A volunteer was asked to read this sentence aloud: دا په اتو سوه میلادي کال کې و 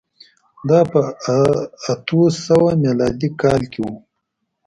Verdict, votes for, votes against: rejected, 1, 2